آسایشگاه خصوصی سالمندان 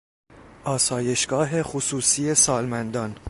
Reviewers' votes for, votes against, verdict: 2, 0, accepted